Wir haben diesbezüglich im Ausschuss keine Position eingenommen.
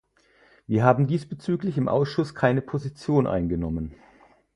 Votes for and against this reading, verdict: 4, 0, accepted